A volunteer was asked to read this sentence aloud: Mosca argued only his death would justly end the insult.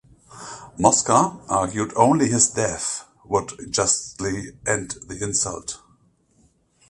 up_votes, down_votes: 2, 0